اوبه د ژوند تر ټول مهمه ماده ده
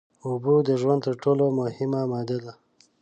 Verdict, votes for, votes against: rejected, 1, 2